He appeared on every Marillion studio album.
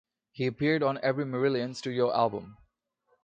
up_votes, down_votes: 2, 0